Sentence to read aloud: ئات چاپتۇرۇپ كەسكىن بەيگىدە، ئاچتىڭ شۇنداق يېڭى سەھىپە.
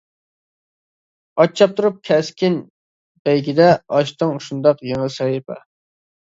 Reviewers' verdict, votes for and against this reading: accepted, 2, 0